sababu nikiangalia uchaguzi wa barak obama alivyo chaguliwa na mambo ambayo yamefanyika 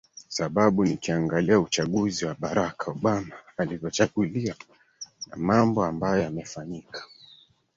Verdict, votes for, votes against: accepted, 2, 0